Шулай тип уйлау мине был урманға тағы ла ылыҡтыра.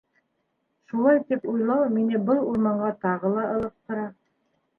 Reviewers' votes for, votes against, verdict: 2, 0, accepted